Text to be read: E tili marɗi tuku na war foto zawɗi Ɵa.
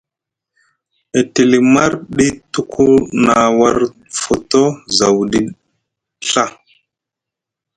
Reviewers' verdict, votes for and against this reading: rejected, 1, 2